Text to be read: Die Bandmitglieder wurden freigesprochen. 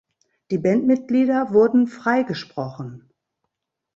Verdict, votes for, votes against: accepted, 2, 0